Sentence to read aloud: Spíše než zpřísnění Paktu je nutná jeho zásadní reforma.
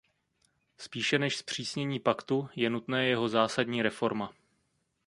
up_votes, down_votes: 0, 2